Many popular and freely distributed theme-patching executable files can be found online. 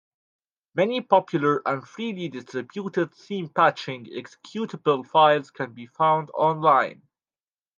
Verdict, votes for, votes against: rejected, 1, 2